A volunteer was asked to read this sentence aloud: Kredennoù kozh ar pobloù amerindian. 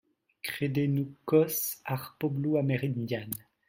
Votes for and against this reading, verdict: 1, 2, rejected